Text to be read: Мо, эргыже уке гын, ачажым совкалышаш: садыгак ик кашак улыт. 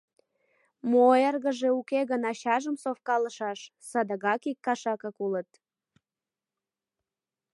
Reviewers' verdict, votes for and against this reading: rejected, 0, 2